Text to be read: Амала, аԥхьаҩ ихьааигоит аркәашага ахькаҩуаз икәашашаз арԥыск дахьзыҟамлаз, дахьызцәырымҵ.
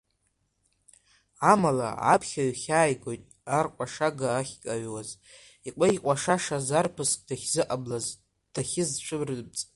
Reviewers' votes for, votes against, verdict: 1, 2, rejected